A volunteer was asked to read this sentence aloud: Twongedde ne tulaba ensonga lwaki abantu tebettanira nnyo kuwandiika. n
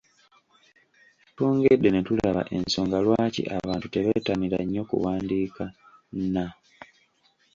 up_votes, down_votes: 2, 0